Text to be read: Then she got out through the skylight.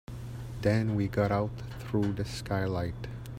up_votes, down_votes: 0, 3